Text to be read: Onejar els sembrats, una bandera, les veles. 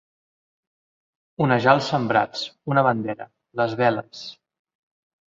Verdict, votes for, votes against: accepted, 2, 0